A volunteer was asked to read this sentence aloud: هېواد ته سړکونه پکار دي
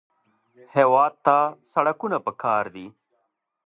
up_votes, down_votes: 2, 0